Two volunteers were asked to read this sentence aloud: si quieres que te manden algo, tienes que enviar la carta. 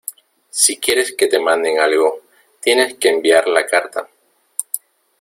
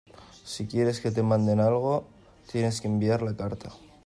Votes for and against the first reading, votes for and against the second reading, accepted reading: 1, 2, 2, 0, second